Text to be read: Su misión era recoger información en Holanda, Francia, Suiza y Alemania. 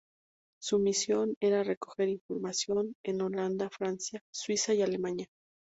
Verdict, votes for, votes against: accepted, 4, 0